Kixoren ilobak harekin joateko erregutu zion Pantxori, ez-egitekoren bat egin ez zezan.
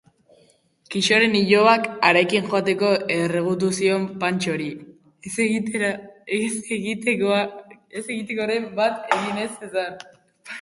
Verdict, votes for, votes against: rejected, 0, 6